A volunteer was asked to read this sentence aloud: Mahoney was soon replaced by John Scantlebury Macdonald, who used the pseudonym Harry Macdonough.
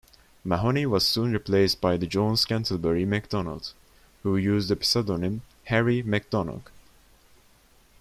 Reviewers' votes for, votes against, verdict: 0, 2, rejected